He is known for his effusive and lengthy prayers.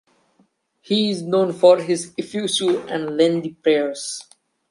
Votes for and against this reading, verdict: 1, 2, rejected